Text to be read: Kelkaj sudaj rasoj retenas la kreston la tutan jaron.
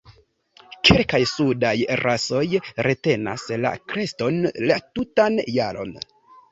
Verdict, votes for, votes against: accepted, 2, 0